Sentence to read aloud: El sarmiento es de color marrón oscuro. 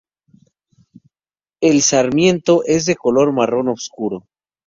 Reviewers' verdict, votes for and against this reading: accepted, 4, 0